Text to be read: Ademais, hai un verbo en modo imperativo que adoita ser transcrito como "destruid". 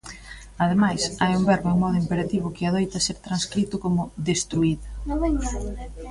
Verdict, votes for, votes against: rejected, 0, 2